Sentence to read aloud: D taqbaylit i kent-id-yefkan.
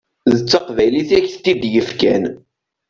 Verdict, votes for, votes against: rejected, 1, 2